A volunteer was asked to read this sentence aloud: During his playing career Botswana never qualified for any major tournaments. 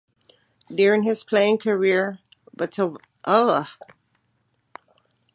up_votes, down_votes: 0, 2